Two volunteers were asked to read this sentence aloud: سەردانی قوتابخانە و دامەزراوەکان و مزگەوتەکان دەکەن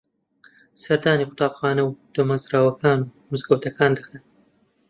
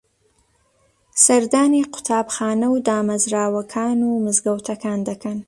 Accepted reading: second